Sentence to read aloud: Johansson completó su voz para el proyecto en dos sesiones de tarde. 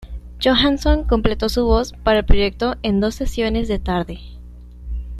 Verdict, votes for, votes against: accepted, 2, 1